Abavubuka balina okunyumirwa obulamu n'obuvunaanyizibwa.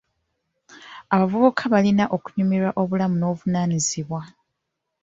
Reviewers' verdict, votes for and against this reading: accepted, 2, 0